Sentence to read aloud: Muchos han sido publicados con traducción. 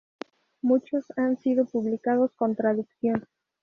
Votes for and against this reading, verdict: 0, 2, rejected